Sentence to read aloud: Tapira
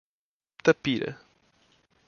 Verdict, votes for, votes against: accepted, 2, 0